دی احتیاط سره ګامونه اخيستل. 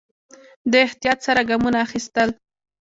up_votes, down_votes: 2, 0